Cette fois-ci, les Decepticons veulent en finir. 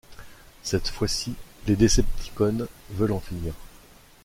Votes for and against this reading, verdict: 1, 2, rejected